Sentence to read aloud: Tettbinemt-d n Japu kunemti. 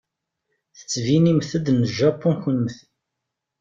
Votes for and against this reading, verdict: 2, 0, accepted